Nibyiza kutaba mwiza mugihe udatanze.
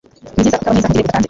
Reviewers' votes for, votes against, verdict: 1, 2, rejected